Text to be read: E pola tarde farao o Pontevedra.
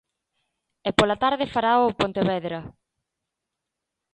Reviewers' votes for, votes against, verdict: 2, 0, accepted